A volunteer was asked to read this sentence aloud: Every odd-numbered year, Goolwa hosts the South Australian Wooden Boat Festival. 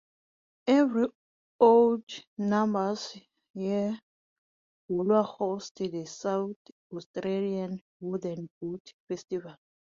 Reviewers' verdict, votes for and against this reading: rejected, 0, 2